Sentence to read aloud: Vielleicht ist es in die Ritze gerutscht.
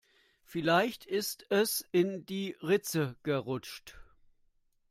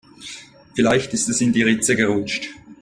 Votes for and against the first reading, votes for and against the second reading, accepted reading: 1, 2, 3, 0, second